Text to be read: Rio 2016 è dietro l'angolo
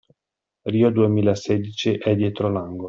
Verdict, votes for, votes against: rejected, 0, 2